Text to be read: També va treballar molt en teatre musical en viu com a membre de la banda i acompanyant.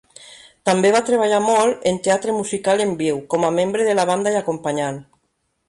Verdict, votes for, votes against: accepted, 3, 0